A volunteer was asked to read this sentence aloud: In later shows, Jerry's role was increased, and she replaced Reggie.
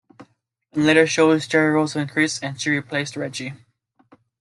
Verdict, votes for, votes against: accepted, 2, 1